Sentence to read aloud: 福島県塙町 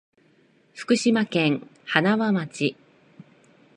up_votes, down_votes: 1, 2